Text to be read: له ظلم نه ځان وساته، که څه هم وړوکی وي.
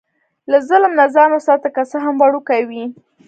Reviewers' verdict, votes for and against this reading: accepted, 2, 0